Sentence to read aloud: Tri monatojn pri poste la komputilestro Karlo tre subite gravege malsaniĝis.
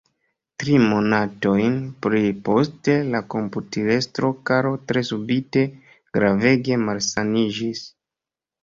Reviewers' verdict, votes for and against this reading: accepted, 2, 0